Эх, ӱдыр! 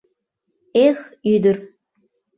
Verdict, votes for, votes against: accepted, 2, 0